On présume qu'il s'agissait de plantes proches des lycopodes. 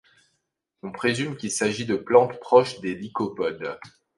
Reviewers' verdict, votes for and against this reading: rejected, 1, 2